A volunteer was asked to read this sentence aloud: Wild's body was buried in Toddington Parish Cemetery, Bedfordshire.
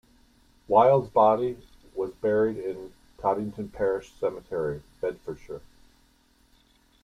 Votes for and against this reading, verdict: 2, 0, accepted